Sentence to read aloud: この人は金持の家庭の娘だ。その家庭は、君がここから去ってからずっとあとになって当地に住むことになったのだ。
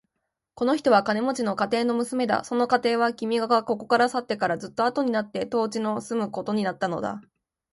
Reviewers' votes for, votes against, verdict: 1, 2, rejected